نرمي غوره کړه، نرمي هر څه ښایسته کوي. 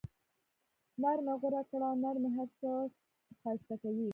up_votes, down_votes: 1, 2